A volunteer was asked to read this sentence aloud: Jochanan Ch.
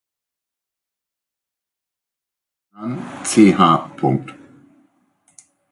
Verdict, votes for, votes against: rejected, 0, 2